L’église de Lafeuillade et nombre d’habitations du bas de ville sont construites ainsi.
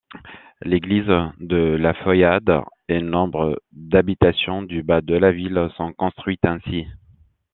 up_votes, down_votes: 1, 2